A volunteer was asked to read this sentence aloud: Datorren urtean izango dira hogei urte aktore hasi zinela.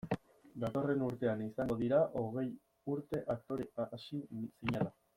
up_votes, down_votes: 0, 2